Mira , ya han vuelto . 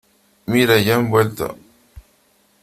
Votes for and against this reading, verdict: 2, 0, accepted